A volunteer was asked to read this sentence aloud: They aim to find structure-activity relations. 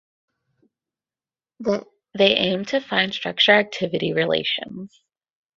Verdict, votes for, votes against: rejected, 4, 8